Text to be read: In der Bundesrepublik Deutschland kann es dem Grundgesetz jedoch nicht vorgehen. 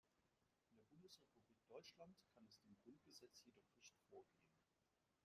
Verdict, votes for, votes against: rejected, 0, 2